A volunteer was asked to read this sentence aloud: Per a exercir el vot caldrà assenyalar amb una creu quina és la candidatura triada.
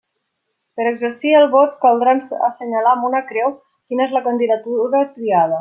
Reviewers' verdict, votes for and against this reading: rejected, 1, 2